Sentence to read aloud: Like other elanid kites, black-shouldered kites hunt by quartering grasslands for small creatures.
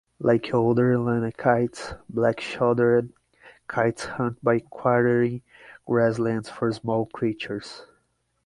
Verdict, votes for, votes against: rejected, 3, 3